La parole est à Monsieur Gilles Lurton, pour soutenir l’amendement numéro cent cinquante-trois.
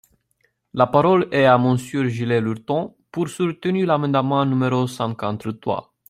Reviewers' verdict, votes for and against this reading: rejected, 0, 2